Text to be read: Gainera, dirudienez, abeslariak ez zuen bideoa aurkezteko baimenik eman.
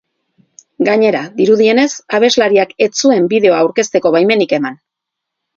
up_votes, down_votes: 6, 0